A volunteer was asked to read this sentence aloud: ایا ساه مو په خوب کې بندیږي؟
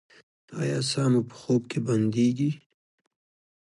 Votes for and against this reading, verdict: 0, 2, rejected